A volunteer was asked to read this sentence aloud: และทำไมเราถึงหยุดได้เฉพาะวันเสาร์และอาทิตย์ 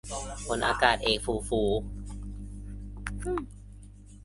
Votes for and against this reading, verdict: 0, 2, rejected